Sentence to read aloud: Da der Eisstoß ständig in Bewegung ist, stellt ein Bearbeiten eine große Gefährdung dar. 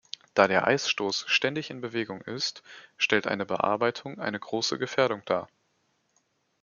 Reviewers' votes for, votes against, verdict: 1, 2, rejected